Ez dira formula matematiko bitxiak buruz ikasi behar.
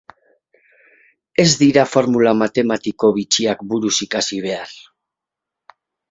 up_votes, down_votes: 4, 0